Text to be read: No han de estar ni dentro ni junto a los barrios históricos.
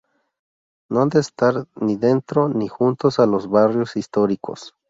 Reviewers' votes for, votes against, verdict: 0, 2, rejected